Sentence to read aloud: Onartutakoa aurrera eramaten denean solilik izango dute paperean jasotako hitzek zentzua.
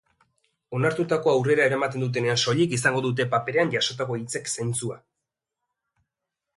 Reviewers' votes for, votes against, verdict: 1, 2, rejected